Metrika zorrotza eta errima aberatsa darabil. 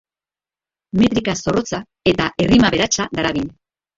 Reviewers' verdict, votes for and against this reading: rejected, 0, 2